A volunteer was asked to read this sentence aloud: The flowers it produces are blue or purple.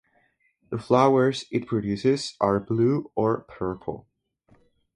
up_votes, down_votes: 2, 2